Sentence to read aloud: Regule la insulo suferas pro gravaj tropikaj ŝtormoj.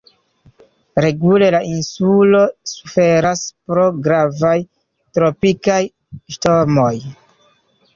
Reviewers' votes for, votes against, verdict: 1, 2, rejected